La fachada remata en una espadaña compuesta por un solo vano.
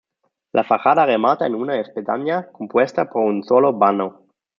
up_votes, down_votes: 0, 2